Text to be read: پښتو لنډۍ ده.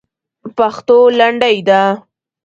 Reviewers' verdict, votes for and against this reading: rejected, 1, 2